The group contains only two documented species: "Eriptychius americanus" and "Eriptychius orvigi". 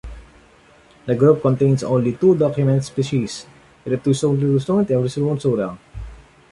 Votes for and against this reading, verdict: 0, 2, rejected